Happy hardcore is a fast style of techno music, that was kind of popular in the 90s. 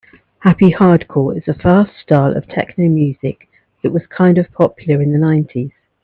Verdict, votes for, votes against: rejected, 0, 2